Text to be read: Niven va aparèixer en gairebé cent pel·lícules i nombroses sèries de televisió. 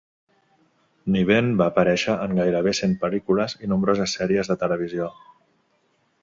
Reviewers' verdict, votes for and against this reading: accepted, 2, 0